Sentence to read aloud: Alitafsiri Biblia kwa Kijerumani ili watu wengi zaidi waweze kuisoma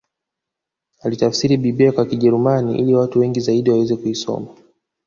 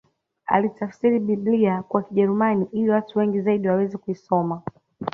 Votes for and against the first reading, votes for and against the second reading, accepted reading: 0, 2, 2, 0, second